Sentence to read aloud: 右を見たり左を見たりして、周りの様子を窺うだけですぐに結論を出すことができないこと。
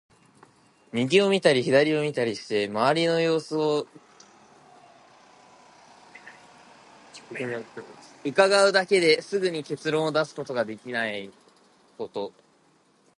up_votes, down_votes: 2, 4